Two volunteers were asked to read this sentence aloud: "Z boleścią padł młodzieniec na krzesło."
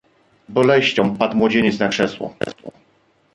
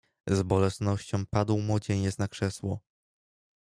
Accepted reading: first